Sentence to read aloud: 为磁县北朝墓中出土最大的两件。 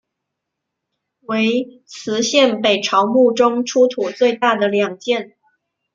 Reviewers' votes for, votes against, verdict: 2, 1, accepted